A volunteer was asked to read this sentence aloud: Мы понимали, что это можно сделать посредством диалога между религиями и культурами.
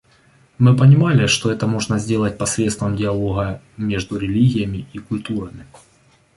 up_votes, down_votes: 2, 0